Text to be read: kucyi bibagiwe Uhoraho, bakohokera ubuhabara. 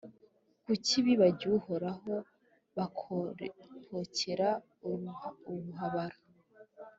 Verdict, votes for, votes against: accepted, 2, 1